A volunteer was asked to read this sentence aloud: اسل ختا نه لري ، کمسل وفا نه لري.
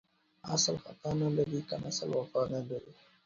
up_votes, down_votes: 2, 0